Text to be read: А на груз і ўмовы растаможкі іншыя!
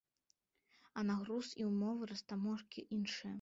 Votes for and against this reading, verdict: 2, 0, accepted